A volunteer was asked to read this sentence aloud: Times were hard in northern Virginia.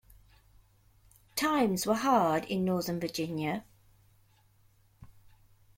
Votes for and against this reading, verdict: 2, 0, accepted